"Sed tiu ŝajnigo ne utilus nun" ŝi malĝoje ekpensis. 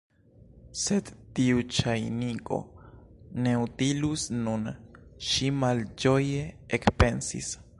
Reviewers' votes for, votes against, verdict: 1, 2, rejected